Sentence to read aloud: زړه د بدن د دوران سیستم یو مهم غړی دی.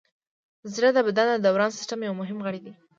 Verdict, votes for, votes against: accepted, 2, 0